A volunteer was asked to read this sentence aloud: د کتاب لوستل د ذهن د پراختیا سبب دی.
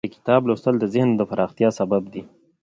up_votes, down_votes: 3, 0